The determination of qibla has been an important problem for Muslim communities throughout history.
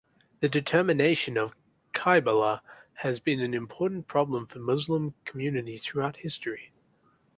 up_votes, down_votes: 0, 2